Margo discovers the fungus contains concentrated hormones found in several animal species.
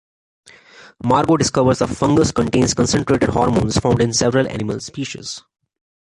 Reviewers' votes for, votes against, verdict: 2, 0, accepted